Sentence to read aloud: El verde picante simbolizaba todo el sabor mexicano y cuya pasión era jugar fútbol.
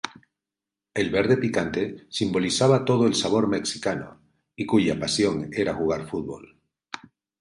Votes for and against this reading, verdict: 2, 0, accepted